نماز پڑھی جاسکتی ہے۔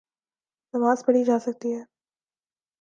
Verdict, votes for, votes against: accepted, 2, 0